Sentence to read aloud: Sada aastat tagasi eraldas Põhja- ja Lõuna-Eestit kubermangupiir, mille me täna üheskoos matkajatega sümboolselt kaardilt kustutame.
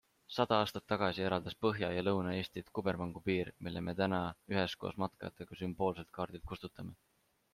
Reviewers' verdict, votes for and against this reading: accepted, 2, 0